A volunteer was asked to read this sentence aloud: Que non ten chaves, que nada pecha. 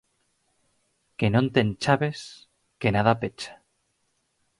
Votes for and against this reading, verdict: 4, 0, accepted